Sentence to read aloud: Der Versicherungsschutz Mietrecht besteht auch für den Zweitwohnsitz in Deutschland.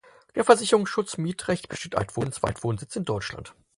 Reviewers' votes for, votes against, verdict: 0, 4, rejected